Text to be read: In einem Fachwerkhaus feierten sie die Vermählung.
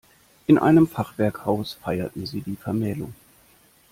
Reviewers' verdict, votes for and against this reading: accepted, 2, 0